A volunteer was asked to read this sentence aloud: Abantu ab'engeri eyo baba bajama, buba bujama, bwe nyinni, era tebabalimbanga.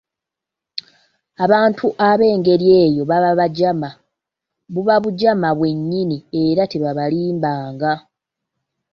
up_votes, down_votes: 2, 0